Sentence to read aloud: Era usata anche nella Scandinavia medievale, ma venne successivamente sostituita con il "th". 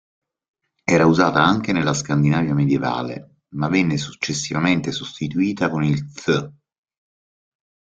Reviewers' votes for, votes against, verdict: 2, 0, accepted